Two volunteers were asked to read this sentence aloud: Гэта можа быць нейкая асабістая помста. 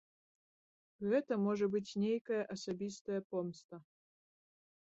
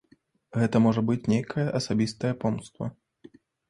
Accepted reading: first